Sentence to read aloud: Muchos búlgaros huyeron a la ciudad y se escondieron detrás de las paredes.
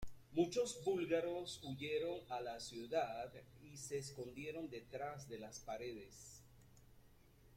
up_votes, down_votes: 2, 1